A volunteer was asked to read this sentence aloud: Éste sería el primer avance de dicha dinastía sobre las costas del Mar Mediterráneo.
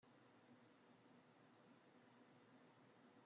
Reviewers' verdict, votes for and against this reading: rejected, 0, 2